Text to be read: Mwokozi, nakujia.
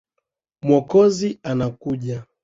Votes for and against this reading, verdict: 1, 3, rejected